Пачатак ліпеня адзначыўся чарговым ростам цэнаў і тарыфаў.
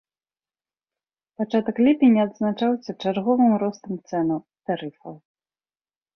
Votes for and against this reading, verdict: 0, 2, rejected